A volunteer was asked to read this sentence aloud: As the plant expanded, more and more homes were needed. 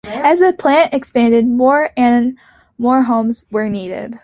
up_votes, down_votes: 2, 0